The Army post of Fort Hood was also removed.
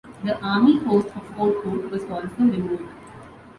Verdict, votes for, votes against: accepted, 2, 0